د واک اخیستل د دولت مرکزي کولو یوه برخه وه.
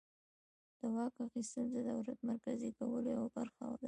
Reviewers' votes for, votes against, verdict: 1, 2, rejected